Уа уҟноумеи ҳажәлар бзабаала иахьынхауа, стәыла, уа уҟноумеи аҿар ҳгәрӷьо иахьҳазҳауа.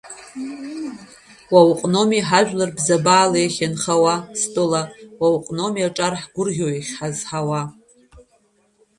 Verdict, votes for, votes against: accepted, 2, 1